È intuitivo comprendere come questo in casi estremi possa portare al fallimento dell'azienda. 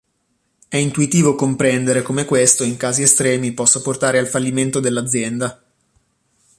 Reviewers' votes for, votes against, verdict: 2, 0, accepted